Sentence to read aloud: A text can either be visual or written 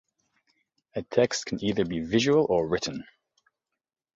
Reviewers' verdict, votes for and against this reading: accepted, 2, 0